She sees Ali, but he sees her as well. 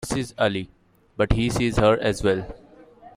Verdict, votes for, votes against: rejected, 1, 2